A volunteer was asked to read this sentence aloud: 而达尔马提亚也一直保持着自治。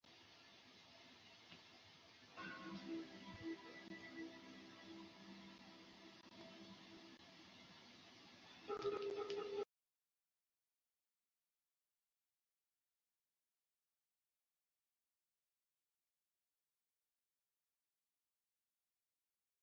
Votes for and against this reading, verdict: 1, 2, rejected